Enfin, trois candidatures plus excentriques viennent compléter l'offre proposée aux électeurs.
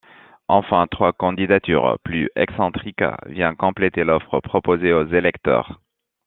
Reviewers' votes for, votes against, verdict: 1, 2, rejected